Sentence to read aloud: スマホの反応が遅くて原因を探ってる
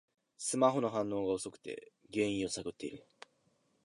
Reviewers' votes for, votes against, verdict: 2, 1, accepted